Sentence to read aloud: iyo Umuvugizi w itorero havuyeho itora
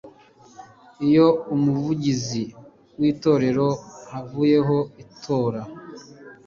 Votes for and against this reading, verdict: 2, 0, accepted